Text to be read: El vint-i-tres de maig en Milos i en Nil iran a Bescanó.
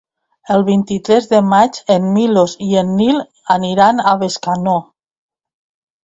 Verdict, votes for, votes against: rejected, 1, 2